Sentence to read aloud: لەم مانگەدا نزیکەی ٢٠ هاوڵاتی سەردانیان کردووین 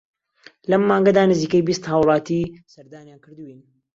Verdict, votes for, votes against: rejected, 0, 2